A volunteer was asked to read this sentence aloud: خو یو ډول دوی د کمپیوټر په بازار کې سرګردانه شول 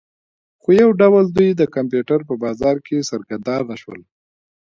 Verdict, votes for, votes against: rejected, 1, 2